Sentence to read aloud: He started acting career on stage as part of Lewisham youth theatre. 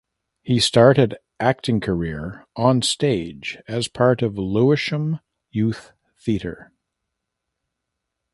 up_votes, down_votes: 2, 0